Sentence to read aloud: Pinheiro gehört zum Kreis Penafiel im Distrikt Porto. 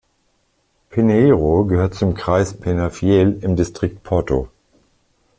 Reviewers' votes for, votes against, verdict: 2, 0, accepted